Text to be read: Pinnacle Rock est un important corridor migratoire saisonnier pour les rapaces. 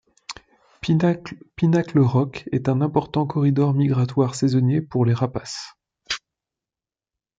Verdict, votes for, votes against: rejected, 0, 2